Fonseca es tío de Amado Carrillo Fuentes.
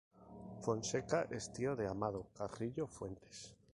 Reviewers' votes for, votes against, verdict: 2, 0, accepted